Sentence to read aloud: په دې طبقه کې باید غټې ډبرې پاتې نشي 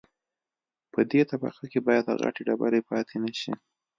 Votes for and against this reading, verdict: 2, 0, accepted